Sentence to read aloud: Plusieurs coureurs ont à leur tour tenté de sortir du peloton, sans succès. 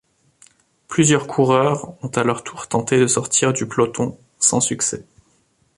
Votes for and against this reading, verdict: 2, 0, accepted